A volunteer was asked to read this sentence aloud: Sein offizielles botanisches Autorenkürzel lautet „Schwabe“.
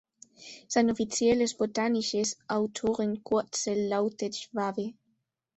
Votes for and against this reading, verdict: 1, 2, rejected